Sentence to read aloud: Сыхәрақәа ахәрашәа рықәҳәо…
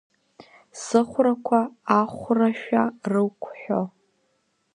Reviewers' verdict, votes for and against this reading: rejected, 1, 2